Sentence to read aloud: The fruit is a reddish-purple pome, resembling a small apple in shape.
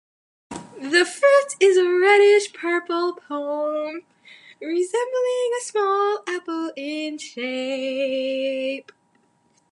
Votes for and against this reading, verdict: 0, 2, rejected